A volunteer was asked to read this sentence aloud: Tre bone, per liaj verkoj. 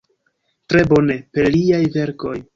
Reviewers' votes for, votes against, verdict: 0, 2, rejected